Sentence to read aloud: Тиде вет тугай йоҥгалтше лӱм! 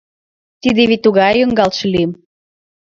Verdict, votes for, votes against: rejected, 1, 2